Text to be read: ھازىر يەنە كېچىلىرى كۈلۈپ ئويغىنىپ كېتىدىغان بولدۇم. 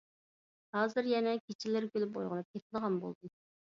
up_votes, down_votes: 2, 0